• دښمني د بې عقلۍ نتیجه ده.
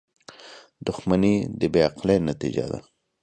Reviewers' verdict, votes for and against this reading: accepted, 2, 0